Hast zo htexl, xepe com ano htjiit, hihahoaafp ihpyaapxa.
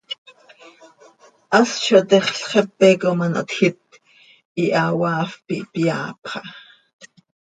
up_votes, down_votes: 2, 0